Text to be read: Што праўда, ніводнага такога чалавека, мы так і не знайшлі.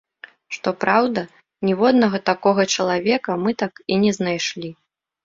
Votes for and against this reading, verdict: 2, 0, accepted